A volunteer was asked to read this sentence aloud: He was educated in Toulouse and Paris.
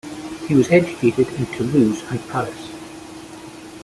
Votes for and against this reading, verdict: 2, 0, accepted